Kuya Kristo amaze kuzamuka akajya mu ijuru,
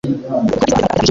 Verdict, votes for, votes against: rejected, 1, 2